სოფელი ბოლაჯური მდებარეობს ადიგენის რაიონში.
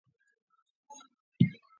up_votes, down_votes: 0, 2